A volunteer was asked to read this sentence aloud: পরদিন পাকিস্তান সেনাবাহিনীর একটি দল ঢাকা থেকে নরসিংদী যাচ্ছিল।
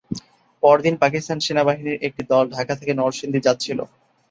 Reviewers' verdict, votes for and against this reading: accepted, 2, 0